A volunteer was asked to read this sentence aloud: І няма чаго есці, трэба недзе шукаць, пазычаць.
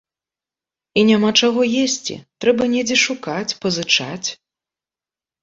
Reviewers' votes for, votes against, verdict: 2, 0, accepted